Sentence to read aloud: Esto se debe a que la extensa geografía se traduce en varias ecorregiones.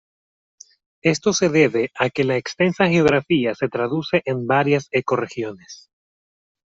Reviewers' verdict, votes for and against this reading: accepted, 2, 0